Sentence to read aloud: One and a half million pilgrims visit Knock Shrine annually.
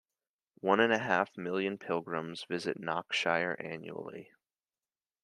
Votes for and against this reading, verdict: 1, 2, rejected